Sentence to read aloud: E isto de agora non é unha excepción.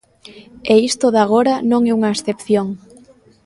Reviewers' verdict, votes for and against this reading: accepted, 2, 0